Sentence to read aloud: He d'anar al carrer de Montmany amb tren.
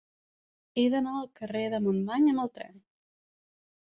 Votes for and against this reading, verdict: 0, 3, rejected